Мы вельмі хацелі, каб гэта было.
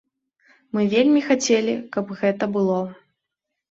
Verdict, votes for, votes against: accepted, 2, 0